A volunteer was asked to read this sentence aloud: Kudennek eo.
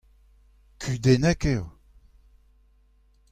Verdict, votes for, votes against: rejected, 0, 2